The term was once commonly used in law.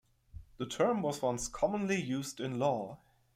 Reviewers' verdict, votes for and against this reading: accepted, 2, 0